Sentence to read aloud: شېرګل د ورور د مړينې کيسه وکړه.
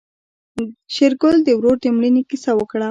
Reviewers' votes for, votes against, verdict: 2, 1, accepted